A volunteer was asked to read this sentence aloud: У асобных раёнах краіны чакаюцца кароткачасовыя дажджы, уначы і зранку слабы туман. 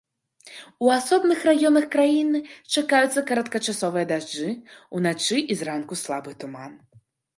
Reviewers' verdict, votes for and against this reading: accepted, 2, 0